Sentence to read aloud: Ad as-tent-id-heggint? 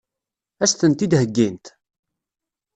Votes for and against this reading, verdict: 2, 0, accepted